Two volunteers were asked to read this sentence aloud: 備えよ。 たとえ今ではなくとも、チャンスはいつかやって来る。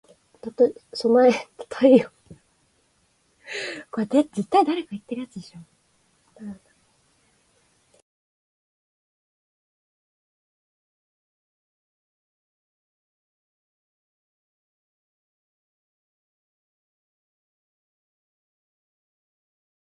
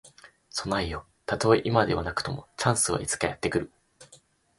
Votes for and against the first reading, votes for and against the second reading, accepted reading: 0, 3, 2, 0, second